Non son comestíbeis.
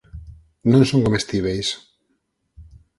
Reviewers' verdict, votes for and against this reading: accepted, 6, 0